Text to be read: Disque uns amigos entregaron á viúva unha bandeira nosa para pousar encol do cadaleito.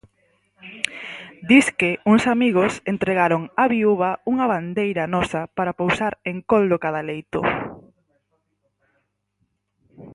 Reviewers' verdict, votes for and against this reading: accepted, 4, 0